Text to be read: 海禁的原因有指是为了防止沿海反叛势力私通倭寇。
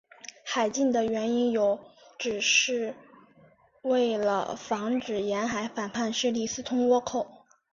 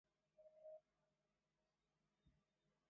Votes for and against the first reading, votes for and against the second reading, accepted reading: 2, 0, 0, 2, first